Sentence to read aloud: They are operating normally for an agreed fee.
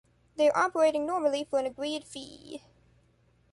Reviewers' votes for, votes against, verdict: 1, 2, rejected